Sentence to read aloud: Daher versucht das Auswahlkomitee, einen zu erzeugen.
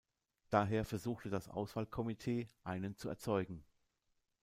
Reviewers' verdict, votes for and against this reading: rejected, 0, 2